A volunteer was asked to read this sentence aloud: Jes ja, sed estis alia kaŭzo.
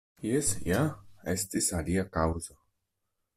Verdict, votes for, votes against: rejected, 0, 2